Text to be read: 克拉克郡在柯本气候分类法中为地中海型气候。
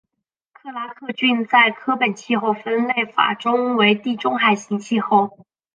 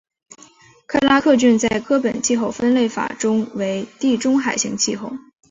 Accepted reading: first